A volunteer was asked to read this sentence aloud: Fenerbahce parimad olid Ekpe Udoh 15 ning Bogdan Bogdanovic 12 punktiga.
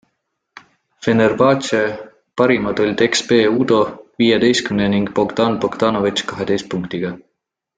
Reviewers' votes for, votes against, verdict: 0, 2, rejected